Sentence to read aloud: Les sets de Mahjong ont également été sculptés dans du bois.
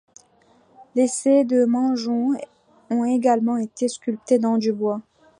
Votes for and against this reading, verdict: 0, 2, rejected